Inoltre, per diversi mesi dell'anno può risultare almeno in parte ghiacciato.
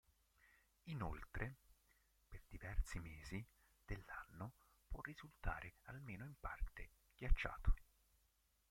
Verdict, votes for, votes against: rejected, 1, 2